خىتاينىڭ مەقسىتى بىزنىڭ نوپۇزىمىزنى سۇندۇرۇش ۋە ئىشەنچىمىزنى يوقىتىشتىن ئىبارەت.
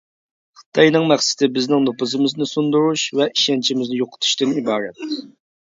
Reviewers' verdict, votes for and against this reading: accepted, 2, 0